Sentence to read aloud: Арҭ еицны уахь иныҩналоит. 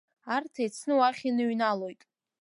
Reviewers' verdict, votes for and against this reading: accepted, 2, 0